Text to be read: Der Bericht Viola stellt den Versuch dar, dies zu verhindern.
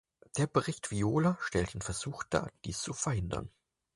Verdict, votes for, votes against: accepted, 4, 0